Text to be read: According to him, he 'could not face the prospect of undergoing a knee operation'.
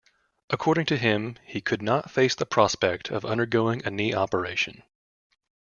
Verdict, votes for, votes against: accepted, 2, 0